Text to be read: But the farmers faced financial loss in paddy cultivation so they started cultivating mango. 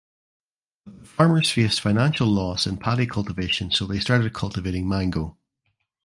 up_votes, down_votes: 0, 2